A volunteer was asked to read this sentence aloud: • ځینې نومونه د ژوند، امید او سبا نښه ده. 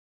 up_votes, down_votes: 1, 2